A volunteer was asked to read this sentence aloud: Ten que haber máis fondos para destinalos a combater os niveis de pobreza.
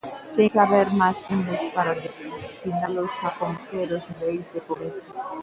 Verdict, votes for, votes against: rejected, 0, 2